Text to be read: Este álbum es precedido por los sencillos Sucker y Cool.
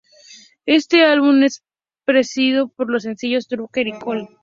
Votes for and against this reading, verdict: 0, 2, rejected